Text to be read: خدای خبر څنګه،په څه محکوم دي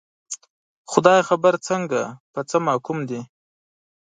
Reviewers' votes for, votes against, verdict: 2, 0, accepted